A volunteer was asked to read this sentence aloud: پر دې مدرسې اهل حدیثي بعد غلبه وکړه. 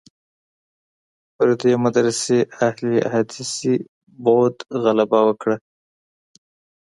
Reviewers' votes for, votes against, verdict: 2, 1, accepted